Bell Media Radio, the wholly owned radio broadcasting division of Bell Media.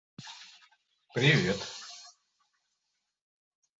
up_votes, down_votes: 0, 2